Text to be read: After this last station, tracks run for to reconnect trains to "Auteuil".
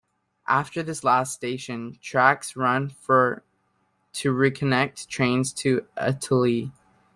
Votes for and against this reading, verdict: 2, 0, accepted